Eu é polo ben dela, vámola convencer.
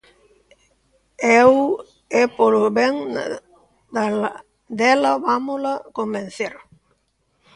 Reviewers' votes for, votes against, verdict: 0, 2, rejected